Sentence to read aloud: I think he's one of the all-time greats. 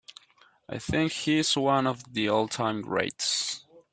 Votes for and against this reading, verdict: 2, 0, accepted